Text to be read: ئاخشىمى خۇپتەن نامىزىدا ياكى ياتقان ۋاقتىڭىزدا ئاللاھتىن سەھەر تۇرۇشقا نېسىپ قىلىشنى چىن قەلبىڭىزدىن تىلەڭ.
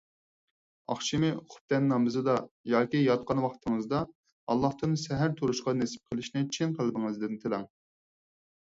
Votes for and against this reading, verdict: 4, 0, accepted